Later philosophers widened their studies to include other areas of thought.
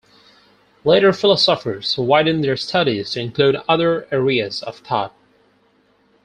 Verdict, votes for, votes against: accepted, 4, 0